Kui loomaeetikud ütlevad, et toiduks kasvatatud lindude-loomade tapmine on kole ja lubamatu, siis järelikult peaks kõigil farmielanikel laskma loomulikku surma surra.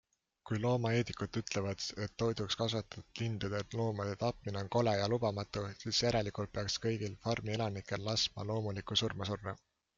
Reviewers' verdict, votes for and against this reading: accepted, 2, 0